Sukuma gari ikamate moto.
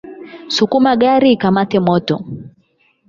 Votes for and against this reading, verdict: 4, 8, rejected